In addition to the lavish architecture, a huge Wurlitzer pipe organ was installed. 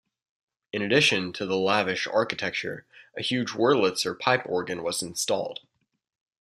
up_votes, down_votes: 2, 0